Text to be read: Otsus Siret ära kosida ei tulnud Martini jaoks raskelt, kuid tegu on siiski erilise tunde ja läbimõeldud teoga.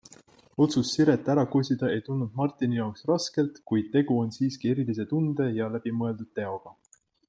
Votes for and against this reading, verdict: 2, 0, accepted